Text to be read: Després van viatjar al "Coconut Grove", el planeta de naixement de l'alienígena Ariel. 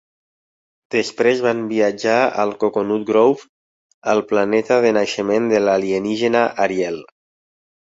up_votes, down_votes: 2, 0